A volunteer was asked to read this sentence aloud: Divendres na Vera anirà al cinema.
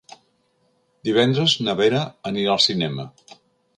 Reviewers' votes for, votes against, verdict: 3, 0, accepted